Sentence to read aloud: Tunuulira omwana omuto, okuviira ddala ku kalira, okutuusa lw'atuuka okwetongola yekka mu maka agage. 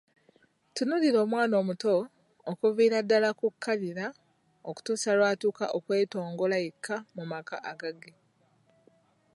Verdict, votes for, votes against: accepted, 2, 0